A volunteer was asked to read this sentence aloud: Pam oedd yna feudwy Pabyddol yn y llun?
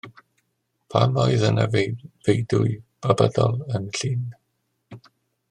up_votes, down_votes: 0, 2